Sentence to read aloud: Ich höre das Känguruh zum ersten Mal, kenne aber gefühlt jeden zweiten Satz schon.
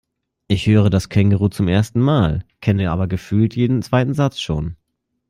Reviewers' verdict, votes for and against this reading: accepted, 2, 1